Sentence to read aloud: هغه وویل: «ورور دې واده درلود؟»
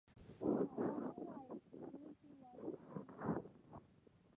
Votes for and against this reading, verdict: 1, 3, rejected